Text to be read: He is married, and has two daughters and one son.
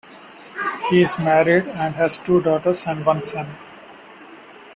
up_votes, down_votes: 2, 0